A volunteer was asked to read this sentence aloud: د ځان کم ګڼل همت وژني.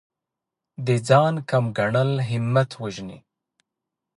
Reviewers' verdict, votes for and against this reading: rejected, 0, 2